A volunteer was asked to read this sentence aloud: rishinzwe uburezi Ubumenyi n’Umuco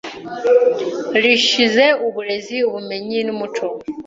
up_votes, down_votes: 0, 2